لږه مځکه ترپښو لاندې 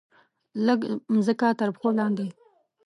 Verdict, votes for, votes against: rejected, 1, 2